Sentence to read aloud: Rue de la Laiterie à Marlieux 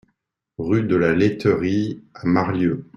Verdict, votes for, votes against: accepted, 2, 0